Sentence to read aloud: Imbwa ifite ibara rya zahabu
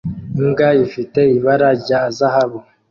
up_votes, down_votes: 3, 1